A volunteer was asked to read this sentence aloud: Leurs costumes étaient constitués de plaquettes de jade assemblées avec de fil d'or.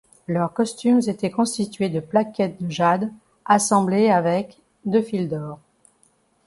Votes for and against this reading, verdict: 2, 1, accepted